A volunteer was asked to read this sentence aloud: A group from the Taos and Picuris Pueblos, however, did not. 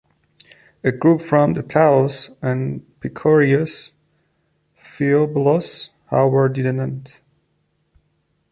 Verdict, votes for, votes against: rejected, 0, 2